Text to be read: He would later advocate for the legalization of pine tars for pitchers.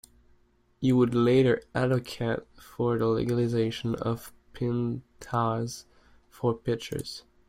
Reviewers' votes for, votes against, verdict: 0, 3, rejected